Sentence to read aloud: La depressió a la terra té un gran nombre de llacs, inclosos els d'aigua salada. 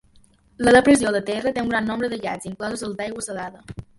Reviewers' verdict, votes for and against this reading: rejected, 0, 2